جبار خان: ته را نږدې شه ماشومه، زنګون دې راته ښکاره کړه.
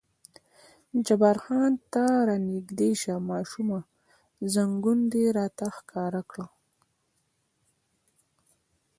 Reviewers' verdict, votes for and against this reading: accepted, 2, 0